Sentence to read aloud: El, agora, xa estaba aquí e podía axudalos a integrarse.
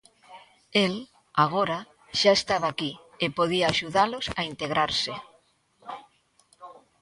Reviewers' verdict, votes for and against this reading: accepted, 2, 0